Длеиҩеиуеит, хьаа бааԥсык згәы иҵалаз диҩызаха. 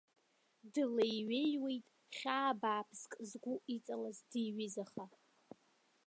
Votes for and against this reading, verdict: 0, 2, rejected